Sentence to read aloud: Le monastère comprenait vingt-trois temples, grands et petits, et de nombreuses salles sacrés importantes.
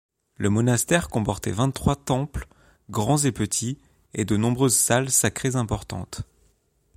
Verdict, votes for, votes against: rejected, 1, 2